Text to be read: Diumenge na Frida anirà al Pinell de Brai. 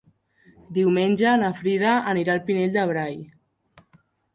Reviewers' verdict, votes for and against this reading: accepted, 3, 0